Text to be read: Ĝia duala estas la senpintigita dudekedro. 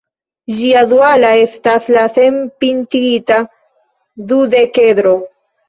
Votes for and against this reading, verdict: 1, 2, rejected